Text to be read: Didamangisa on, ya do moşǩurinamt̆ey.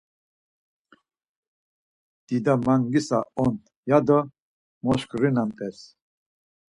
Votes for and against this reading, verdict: 2, 4, rejected